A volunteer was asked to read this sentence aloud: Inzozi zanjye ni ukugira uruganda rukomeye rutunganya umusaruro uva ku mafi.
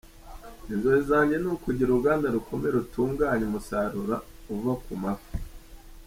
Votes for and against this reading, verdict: 2, 0, accepted